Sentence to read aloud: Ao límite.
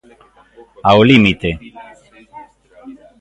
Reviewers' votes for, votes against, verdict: 2, 1, accepted